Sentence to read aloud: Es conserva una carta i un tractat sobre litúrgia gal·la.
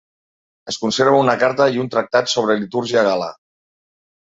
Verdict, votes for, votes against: rejected, 1, 2